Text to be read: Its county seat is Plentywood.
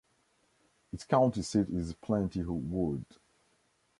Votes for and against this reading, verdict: 0, 2, rejected